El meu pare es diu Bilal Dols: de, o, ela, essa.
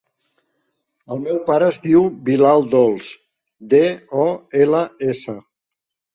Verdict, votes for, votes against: accepted, 3, 1